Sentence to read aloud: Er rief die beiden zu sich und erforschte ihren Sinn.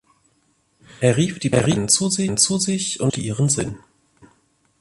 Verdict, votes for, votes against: rejected, 0, 2